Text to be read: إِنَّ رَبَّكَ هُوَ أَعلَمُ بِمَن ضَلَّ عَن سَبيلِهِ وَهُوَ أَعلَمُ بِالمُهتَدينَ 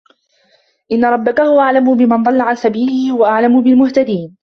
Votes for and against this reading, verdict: 2, 1, accepted